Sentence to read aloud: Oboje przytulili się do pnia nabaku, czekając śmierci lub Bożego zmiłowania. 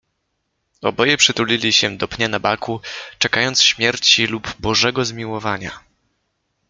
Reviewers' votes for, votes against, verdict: 2, 0, accepted